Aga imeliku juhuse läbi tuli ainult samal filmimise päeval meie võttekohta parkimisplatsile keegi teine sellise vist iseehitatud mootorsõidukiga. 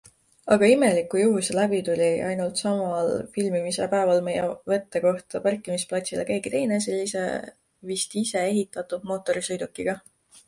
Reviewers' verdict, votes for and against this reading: accepted, 2, 0